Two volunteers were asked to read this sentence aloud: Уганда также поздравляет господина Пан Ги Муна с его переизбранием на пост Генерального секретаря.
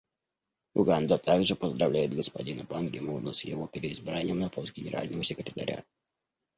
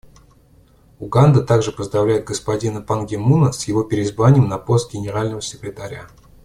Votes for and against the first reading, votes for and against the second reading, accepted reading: 1, 2, 2, 0, second